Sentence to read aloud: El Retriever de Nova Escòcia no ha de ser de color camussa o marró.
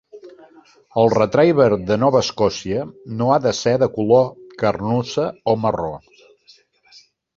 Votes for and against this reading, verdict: 0, 2, rejected